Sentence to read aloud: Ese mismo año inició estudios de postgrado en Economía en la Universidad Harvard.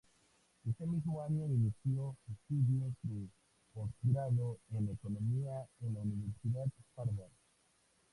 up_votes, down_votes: 0, 2